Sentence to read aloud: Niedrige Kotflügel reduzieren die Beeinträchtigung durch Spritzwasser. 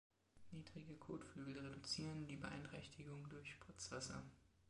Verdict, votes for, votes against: rejected, 2, 3